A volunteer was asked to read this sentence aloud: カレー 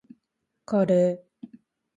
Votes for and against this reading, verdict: 2, 0, accepted